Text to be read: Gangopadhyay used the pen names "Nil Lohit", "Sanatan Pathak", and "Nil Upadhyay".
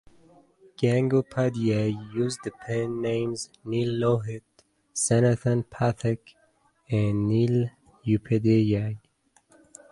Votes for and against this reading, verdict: 0, 2, rejected